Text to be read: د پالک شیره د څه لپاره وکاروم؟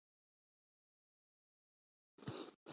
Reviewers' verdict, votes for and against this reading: rejected, 1, 2